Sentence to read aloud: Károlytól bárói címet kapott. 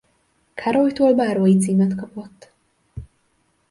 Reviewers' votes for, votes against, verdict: 2, 0, accepted